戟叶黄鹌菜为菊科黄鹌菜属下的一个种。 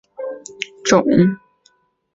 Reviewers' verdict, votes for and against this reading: rejected, 1, 5